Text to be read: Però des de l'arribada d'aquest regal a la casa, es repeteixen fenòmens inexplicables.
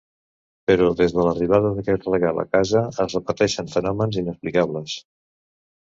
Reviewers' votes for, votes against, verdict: 0, 2, rejected